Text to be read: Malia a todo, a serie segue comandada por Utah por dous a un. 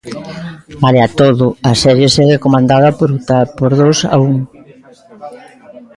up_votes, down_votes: 1, 2